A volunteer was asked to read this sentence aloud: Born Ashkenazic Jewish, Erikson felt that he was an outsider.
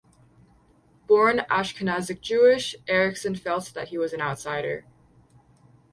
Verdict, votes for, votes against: rejected, 0, 2